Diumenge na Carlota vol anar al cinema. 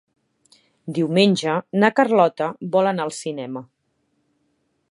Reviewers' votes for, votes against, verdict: 3, 0, accepted